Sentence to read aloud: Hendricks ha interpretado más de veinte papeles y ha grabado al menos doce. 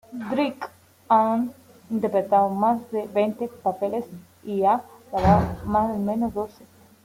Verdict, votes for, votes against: rejected, 0, 2